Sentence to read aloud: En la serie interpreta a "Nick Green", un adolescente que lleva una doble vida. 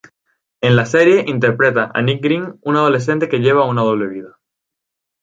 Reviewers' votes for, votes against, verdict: 2, 0, accepted